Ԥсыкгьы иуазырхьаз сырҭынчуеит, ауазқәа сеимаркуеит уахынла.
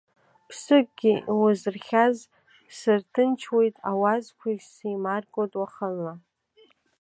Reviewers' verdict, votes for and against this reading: rejected, 1, 2